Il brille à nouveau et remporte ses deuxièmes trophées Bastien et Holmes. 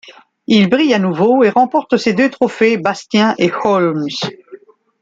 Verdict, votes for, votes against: rejected, 0, 2